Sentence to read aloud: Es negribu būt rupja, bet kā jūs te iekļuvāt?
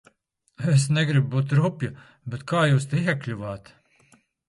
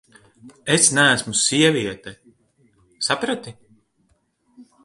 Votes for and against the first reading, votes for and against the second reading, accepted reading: 2, 0, 0, 2, first